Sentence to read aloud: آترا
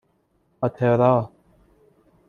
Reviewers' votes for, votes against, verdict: 2, 0, accepted